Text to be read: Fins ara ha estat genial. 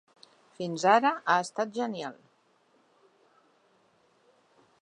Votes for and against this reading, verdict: 3, 0, accepted